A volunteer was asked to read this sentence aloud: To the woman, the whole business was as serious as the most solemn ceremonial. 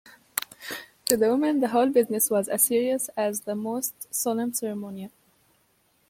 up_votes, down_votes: 1, 2